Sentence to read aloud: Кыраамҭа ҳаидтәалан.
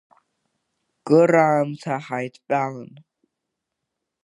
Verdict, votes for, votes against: rejected, 0, 2